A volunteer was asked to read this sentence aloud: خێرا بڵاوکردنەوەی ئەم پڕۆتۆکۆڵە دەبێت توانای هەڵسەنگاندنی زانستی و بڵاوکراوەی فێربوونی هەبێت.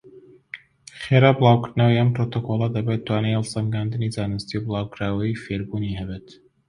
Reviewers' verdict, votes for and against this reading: accepted, 2, 0